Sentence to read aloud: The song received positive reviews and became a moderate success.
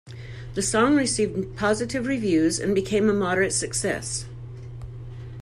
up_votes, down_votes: 0, 2